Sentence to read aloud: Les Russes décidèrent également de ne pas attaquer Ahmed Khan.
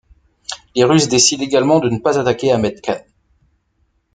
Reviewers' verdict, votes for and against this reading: rejected, 0, 2